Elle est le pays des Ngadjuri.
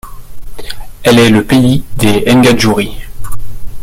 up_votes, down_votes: 0, 2